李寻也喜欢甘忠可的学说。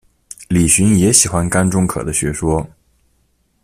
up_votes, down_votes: 3, 0